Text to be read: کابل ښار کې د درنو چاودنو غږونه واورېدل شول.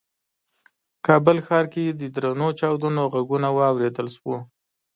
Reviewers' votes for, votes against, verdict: 2, 0, accepted